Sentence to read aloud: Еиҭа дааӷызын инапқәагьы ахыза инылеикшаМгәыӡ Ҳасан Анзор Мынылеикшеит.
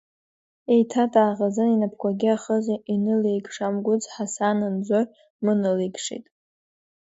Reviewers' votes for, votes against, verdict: 2, 0, accepted